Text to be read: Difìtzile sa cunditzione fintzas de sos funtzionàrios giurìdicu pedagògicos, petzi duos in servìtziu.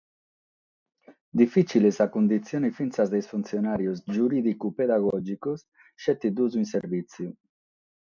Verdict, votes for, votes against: rejected, 3, 3